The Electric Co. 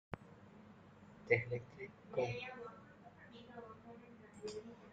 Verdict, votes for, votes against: rejected, 0, 2